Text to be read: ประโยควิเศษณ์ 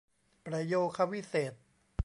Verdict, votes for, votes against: rejected, 0, 2